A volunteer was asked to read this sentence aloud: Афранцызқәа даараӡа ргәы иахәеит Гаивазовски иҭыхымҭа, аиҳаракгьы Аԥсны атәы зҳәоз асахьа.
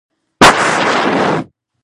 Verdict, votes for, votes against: rejected, 0, 2